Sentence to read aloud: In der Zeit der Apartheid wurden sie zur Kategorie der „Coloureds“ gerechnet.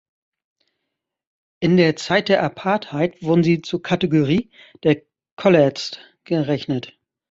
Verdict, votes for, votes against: rejected, 1, 2